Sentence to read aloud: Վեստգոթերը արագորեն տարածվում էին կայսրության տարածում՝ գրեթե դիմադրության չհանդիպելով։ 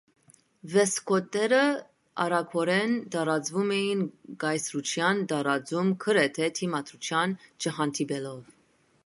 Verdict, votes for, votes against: rejected, 1, 2